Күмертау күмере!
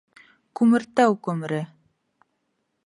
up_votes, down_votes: 2, 0